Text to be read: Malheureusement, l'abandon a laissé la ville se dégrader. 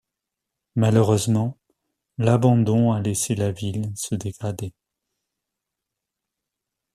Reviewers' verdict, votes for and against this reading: accepted, 2, 0